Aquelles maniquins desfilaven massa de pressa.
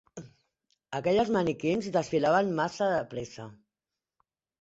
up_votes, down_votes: 2, 0